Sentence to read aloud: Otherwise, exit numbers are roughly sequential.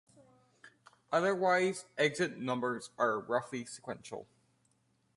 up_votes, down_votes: 2, 0